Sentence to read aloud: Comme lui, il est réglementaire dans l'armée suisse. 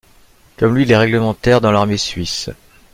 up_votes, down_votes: 0, 2